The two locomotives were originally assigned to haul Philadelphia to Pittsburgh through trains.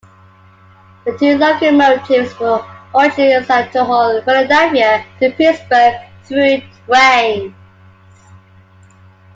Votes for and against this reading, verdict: 2, 0, accepted